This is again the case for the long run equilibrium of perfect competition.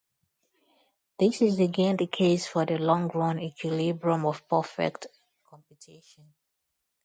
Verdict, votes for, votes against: rejected, 0, 2